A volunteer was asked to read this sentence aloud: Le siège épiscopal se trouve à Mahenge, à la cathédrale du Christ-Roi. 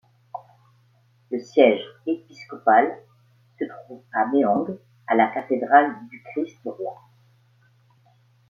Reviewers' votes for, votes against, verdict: 2, 0, accepted